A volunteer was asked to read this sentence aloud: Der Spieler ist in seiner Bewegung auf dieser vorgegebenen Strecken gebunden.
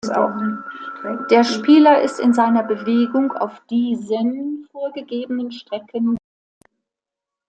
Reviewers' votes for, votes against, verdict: 0, 2, rejected